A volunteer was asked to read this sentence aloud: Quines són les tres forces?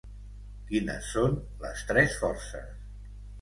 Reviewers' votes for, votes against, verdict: 2, 0, accepted